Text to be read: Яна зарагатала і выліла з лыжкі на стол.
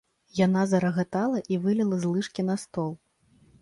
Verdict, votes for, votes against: accepted, 2, 0